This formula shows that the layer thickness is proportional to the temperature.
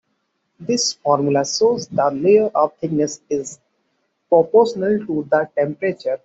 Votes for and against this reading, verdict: 1, 2, rejected